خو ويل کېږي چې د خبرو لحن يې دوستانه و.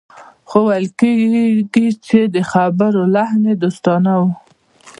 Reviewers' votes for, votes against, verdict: 1, 2, rejected